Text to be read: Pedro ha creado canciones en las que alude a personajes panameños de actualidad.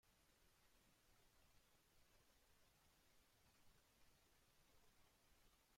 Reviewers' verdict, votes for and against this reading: rejected, 0, 2